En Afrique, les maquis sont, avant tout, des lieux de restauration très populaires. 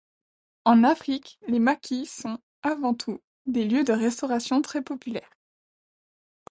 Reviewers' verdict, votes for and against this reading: accepted, 2, 0